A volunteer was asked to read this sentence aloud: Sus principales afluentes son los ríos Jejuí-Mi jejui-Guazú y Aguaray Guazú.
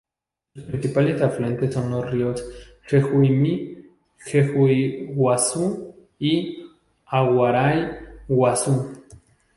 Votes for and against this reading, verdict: 4, 0, accepted